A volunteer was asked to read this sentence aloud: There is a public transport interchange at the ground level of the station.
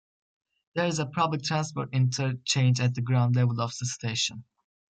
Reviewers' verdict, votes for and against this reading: rejected, 0, 2